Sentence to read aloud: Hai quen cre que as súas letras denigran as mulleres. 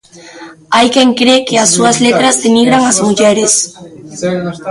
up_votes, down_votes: 0, 2